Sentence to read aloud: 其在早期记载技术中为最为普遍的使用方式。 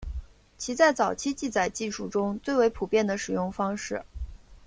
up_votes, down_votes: 2, 0